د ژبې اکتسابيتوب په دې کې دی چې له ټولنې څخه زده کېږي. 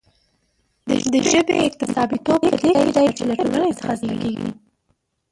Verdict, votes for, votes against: rejected, 0, 2